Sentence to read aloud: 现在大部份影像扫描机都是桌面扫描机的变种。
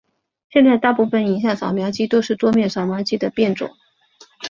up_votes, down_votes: 5, 2